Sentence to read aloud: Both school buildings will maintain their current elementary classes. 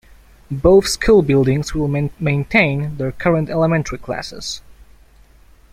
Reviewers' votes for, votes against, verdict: 1, 2, rejected